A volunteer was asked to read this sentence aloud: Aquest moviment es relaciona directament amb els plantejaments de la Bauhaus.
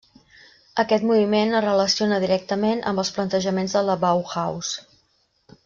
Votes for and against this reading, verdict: 3, 0, accepted